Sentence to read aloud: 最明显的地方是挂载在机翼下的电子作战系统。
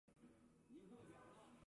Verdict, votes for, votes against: rejected, 1, 2